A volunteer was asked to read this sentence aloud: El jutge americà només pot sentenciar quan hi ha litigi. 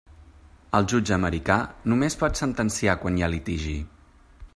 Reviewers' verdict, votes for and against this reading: accepted, 3, 0